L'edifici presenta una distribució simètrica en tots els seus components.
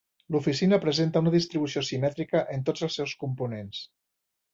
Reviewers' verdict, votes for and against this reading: rejected, 1, 2